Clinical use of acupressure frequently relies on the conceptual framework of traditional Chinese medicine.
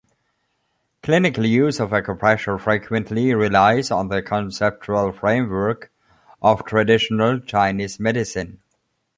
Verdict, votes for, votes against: accepted, 2, 1